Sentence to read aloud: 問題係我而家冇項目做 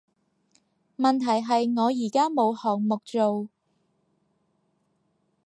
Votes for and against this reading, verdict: 4, 0, accepted